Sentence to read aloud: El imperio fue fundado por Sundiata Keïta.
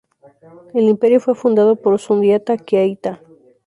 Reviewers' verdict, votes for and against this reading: rejected, 2, 2